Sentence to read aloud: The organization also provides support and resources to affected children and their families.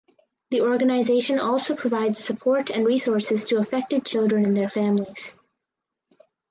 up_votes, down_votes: 4, 0